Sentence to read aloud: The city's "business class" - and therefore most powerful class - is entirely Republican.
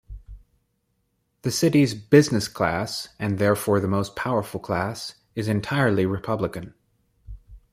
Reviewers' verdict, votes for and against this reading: rejected, 1, 2